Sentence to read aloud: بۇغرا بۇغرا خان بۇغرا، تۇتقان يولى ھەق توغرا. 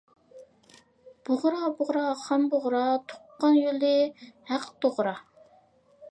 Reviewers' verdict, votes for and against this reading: rejected, 1, 2